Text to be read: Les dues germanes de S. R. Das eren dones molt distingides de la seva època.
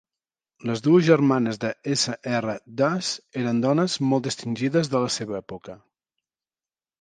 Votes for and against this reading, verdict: 2, 0, accepted